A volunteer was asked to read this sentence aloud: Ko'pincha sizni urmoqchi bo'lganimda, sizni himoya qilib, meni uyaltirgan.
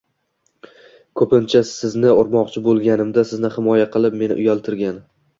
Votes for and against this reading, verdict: 1, 2, rejected